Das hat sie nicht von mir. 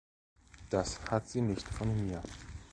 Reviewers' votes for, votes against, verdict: 1, 2, rejected